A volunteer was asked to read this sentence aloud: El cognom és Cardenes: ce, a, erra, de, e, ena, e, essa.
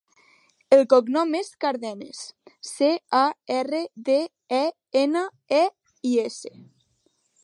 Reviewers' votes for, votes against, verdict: 1, 2, rejected